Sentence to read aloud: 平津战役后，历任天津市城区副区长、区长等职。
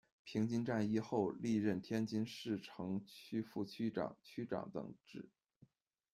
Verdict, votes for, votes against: accepted, 2, 0